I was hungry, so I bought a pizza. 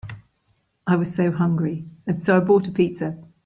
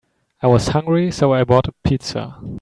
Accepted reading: second